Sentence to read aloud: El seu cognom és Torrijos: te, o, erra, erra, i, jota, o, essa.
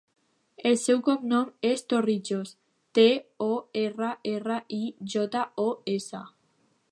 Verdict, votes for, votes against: accepted, 2, 0